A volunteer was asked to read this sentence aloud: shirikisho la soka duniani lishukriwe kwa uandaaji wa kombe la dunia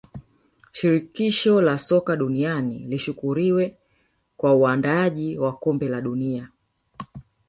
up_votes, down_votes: 1, 2